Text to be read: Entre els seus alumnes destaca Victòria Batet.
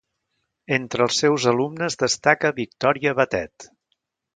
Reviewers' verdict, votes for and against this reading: accepted, 2, 0